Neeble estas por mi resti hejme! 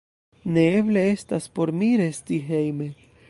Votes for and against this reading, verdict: 1, 2, rejected